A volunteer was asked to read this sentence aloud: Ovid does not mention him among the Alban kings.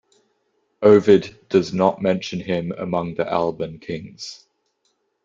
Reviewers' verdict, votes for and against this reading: accepted, 2, 0